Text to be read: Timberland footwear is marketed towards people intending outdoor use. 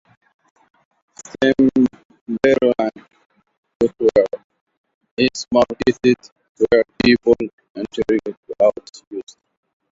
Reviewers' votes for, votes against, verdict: 0, 2, rejected